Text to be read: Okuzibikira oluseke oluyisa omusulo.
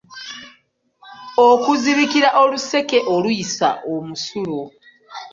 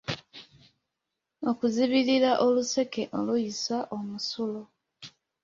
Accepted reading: first